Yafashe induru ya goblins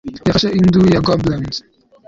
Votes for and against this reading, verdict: 1, 2, rejected